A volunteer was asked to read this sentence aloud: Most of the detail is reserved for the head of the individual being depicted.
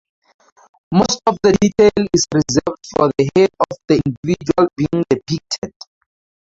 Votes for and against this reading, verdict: 2, 0, accepted